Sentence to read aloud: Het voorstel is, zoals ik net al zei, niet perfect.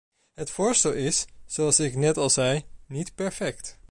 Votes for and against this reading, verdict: 2, 0, accepted